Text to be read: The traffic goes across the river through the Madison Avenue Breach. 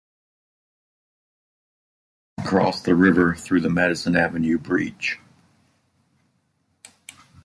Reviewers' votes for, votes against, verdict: 0, 2, rejected